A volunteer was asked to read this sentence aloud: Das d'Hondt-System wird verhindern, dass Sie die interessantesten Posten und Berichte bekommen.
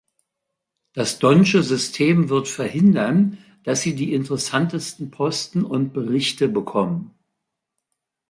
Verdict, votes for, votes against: rejected, 0, 2